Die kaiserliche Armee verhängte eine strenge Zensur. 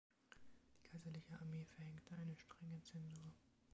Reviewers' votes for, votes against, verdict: 1, 2, rejected